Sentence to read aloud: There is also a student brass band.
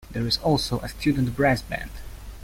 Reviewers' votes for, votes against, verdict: 2, 0, accepted